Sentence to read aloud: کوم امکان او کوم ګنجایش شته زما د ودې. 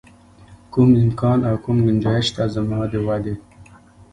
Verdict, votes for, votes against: accepted, 2, 0